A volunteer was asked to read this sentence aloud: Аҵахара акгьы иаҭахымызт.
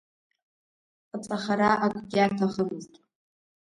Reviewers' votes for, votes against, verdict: 0, 2, rejected